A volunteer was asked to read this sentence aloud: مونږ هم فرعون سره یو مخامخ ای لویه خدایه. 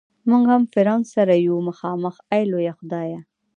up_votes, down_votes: 2, 0